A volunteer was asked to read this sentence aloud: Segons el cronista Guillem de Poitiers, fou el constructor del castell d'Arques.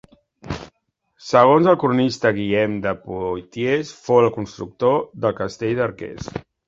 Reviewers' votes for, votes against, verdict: 1, 2, rejected